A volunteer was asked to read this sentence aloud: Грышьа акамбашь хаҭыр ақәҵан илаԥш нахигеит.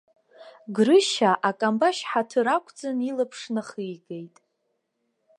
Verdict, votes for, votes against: accepted, 2, 0